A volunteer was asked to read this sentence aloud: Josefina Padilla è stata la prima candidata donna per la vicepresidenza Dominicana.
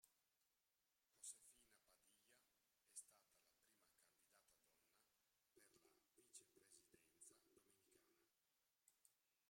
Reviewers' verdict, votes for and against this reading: rejected, 0, 2